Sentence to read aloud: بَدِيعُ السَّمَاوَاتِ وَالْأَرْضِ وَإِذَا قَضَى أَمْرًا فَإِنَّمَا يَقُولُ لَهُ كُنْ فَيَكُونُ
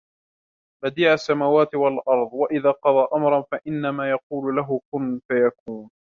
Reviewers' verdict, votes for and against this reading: accepted, 2, 1